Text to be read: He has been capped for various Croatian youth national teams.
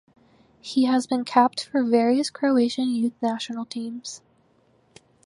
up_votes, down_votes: 4, 0